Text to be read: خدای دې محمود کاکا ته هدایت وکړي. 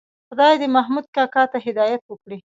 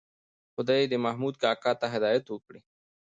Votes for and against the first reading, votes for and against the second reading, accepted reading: 1, 2, 2, 0, second